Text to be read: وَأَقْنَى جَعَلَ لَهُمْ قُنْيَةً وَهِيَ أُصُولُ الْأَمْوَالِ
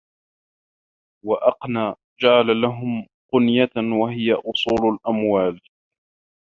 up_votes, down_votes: 2, 1